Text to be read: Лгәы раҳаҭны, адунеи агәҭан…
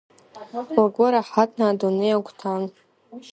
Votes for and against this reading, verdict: 2, 0, accepted